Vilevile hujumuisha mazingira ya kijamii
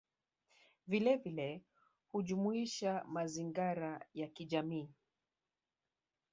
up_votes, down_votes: 1, 3